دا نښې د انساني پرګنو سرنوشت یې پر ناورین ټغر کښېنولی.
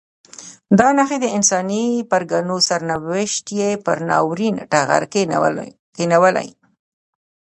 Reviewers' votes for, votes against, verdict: 0, 2, rejected